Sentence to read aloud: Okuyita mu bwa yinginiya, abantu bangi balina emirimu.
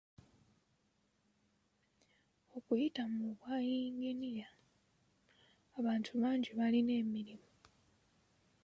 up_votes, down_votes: 2, 0